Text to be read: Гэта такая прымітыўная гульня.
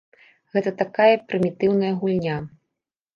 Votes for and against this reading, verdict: 2, 0, accepted